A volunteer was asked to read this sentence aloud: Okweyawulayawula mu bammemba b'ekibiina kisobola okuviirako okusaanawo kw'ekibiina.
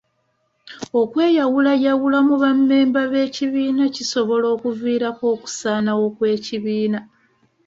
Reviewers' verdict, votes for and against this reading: accepted, 2, 0